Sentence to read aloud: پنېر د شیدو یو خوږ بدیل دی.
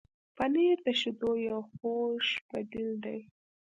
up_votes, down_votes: 2, 0